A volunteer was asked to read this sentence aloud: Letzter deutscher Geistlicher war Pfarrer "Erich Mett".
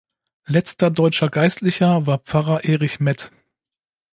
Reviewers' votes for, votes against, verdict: 2, 0, accepted